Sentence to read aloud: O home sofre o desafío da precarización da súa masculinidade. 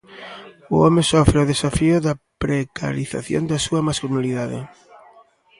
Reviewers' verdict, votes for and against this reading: rejected, 1, 2